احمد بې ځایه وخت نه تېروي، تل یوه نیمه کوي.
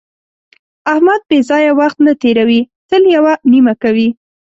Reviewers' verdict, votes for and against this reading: accepted, 3, 0